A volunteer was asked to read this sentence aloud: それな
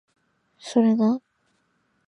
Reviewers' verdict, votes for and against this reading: accepted, 2, 0